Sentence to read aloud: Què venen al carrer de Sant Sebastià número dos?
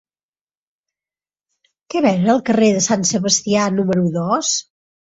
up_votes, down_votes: 2, 0